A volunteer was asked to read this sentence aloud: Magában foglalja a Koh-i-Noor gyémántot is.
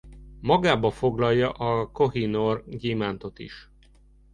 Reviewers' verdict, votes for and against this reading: rejected, 0, 2